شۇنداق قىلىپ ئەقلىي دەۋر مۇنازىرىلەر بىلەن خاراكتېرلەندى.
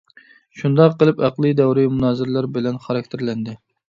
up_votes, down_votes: 0, 2